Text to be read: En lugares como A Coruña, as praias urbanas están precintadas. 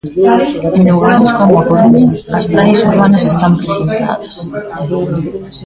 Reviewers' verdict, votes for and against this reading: rejected, 0, 2